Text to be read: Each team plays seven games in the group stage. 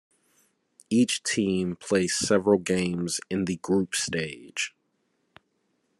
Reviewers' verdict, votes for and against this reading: rejected, 0, 2